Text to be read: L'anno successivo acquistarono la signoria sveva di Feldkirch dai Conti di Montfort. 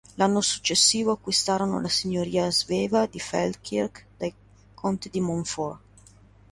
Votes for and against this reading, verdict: 1, 2, rejected